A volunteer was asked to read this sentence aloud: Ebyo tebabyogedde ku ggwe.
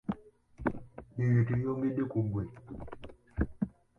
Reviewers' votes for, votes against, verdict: 2, 1, accepted